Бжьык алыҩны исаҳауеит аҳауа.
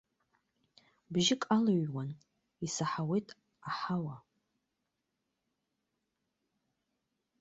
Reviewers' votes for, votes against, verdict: 0, 2, rejected